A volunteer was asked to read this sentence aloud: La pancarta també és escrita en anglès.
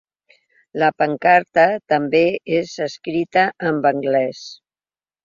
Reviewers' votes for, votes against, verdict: 0, 2, rejected